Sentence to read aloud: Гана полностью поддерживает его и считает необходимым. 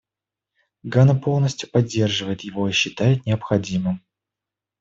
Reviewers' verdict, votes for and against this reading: accepted, 2, 0